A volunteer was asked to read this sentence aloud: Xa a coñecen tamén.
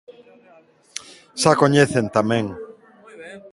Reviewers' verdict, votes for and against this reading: rejected, 1, 2